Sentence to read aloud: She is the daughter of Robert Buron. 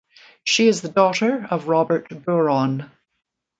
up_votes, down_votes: 2, 0